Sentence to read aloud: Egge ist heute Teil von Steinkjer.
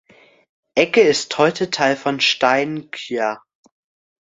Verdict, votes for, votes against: accepted, 2, 0